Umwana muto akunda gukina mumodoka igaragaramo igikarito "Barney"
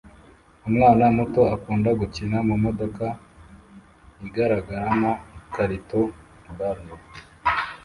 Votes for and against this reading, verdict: 2, 0, accepted